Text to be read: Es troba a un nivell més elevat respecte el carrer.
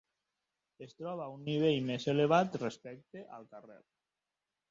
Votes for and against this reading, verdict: 2, 1, accepted